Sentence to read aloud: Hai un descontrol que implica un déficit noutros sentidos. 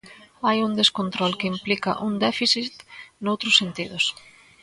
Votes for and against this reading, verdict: 2, 0, accepted